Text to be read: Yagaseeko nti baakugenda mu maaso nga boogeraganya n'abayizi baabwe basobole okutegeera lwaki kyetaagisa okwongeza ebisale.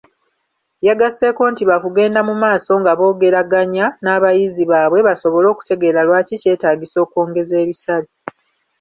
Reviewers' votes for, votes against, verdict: 2, 0, accepted